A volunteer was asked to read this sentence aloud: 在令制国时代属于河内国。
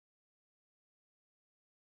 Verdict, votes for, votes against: rejected, 1, 2